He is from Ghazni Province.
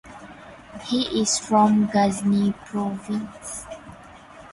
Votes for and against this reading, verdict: 4, 0, accepted